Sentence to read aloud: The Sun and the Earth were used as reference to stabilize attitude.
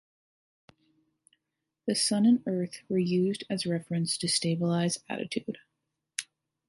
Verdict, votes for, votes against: rejected, 1, 2